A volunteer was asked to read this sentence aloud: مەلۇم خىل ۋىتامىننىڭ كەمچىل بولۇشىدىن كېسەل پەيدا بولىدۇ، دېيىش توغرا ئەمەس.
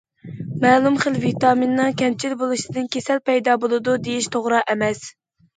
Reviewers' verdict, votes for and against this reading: accepted, 2, 0